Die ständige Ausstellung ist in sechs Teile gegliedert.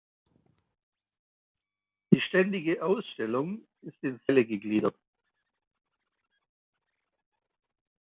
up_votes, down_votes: 0, 2